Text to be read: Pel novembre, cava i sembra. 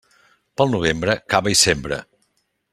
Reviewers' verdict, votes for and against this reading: accepted, 3, 0